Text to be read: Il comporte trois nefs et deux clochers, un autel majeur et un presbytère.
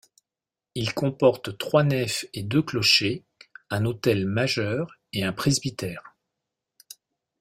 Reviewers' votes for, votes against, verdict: 2, 0, accepted